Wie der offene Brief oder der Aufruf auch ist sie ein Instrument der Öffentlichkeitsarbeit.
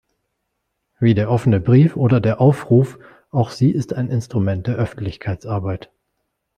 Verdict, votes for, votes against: rejected, 1, 2